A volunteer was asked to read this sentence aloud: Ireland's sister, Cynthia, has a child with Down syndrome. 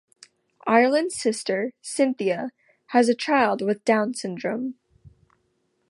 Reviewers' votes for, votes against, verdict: 2, 0, accepted